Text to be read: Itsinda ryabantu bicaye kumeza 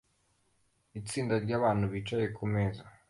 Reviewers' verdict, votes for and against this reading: accepted, 2, 0